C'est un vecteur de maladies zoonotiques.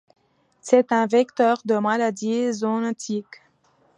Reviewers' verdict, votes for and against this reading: accepted, 2, 0